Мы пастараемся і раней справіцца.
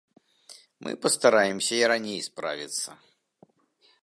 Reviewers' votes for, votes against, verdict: 3, 0, accepted